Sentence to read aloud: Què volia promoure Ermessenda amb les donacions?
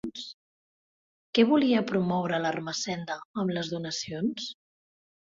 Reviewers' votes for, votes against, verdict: 0, 2, rejected